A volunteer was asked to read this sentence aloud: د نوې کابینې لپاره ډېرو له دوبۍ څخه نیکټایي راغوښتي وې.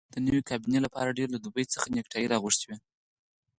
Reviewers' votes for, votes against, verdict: 2, 4, rejected